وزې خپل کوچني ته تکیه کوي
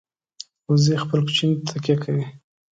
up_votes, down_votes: 2, 0